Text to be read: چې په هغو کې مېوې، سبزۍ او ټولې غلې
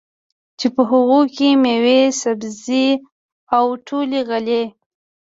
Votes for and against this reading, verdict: 3, 0, accepted